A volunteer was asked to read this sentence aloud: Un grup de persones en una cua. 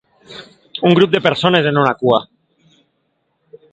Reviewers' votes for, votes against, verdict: 1, 2, rejected